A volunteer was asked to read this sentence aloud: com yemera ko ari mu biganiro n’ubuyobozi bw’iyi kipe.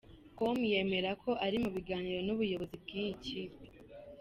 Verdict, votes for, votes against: accepted, 2, 0